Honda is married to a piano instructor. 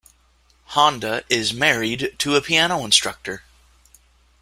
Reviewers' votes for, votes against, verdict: 2, 0, accepted